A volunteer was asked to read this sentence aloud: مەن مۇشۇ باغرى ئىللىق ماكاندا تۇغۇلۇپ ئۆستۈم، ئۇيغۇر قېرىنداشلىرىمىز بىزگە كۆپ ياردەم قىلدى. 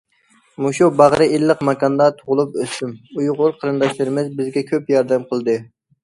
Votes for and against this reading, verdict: 1, 2, rejected